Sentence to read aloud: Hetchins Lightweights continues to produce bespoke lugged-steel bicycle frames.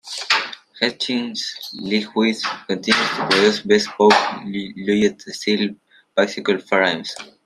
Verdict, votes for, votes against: rejected, 0, 2